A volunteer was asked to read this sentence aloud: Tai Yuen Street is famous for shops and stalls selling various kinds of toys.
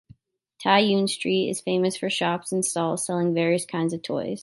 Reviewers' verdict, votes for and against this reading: accepted, 2, 0